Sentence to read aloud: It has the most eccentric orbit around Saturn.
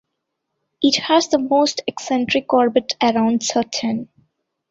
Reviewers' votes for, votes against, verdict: 2, 1, accepted